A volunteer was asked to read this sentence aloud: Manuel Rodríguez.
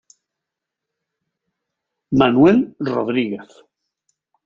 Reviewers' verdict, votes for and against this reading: accepted, 2, 0